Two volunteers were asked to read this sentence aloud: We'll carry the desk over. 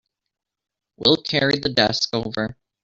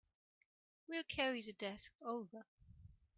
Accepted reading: second